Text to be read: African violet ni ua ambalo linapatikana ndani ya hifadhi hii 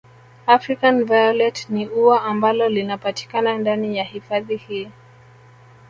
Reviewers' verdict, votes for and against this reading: accepted, 2, 1